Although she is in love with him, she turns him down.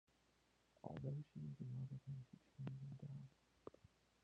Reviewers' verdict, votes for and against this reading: rejected, 0, 2